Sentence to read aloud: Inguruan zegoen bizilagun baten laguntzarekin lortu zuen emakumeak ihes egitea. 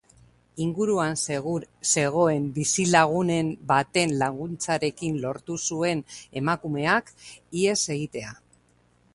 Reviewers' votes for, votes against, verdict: 1, 2, rejected